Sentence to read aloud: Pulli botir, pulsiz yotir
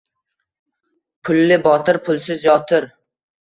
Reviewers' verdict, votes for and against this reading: accepted, 2, 0